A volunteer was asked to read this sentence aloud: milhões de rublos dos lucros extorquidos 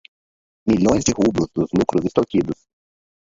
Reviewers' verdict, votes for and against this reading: rejected, 0, 4